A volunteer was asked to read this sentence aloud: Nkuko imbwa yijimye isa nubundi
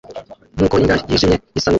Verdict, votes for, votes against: rejected, 0, 2